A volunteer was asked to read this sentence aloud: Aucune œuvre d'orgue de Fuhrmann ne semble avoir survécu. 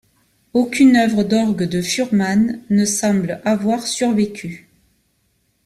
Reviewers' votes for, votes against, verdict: 2, 0, accepted